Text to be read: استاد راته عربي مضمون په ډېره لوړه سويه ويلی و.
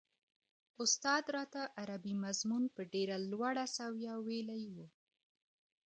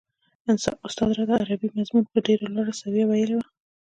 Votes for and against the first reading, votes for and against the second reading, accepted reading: 2, 0, 1, 2, first